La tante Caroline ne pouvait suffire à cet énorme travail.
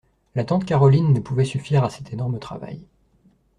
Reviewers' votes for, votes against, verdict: 2, 0, accepted